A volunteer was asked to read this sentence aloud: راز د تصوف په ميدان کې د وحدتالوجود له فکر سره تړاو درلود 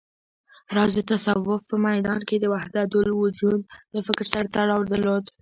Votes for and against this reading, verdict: 1, 2, rejected